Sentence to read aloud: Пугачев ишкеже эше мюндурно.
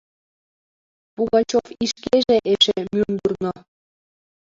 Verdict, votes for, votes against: rejected, 1, 2